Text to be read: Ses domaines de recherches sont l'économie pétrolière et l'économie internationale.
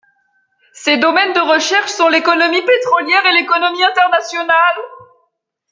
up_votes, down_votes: 2, 0